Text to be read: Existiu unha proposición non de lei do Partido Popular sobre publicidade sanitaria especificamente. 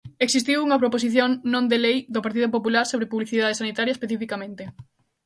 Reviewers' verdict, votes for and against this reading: accepted, 2, 0